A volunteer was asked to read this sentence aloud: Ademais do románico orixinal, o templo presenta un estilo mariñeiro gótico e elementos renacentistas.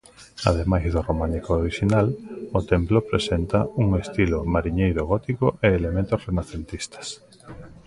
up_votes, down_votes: 1, 2